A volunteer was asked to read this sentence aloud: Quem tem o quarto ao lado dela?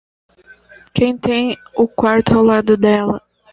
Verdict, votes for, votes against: accepted, 2, 0